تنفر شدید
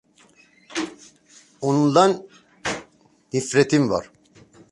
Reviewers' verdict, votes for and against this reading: rejected, 0, 2